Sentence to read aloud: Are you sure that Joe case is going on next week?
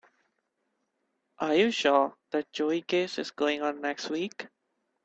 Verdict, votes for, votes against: rejected, 0, 2